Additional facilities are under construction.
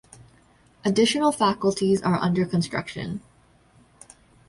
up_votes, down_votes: 0, 2